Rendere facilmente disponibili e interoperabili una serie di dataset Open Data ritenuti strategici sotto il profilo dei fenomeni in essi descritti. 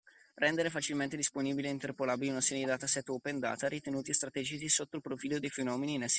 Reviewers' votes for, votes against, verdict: 0, 2, rejected